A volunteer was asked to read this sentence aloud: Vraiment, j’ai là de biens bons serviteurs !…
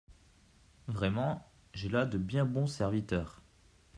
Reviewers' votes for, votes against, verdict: 2, 0, accepted